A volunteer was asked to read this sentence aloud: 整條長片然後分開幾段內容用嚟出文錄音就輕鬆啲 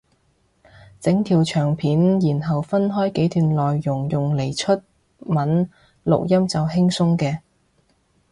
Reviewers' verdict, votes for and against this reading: rejected, 1, 2